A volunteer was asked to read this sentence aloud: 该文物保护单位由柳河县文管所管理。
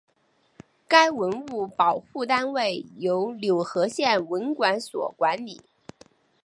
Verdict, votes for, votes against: accepted, 12, 0